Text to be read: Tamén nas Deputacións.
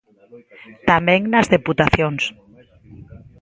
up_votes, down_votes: 1, 2